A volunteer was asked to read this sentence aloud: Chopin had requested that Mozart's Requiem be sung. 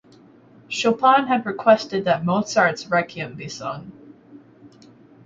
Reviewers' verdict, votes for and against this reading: rejected, 2, 4